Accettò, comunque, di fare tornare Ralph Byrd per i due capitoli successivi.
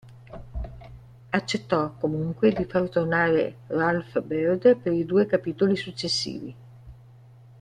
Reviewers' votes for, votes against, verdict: 3, 1, accepted